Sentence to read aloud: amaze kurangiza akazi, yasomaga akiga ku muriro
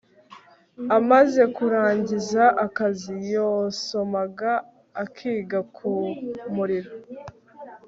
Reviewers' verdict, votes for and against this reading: rejected, 2, 3